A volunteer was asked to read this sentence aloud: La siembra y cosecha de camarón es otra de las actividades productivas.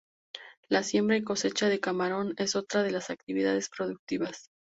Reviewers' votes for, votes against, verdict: 2, 0, accepted